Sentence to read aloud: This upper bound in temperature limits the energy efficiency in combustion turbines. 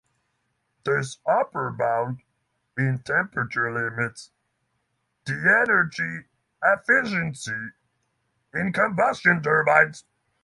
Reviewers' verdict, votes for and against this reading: rejected, 0, 6